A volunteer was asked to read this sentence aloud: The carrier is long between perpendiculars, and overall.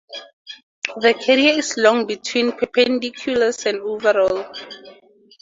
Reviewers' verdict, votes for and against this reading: accepted, 2, 0